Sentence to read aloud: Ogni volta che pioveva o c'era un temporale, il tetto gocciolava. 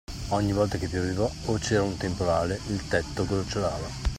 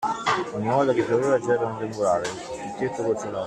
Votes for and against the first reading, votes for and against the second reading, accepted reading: 2, 0, 1, 2, first